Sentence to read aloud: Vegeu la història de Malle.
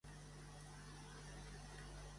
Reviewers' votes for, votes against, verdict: 0, 2, rejected